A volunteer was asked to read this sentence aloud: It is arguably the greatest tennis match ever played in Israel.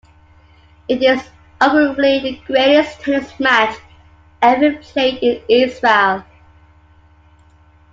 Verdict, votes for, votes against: rejected, 1, 2